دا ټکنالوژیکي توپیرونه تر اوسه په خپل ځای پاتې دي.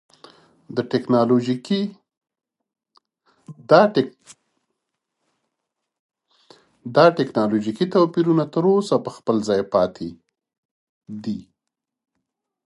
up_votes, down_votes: 2, 3